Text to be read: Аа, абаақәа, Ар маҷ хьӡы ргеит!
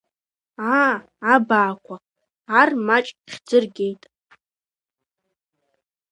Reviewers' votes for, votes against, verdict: 2, 0, accepted